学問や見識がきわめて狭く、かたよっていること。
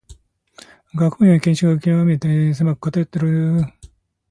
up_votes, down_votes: 1, 2